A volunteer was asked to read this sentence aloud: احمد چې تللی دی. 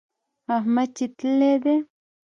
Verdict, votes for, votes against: accepted, 2, 0